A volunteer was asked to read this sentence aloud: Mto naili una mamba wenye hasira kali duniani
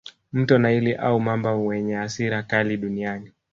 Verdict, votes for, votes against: rejected, 2, 3